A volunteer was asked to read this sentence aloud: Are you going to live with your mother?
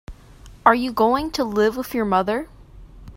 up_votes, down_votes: 3, 0